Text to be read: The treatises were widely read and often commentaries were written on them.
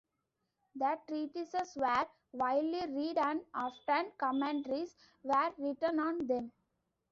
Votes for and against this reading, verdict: 0, 2, rejected